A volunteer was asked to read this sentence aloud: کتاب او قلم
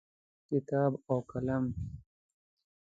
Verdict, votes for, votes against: accepted, 2, 0